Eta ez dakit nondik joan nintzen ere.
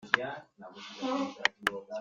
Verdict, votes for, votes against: rejected, 0, 2